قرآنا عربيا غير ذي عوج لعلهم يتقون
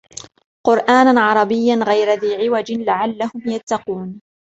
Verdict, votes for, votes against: accepted, 2, 0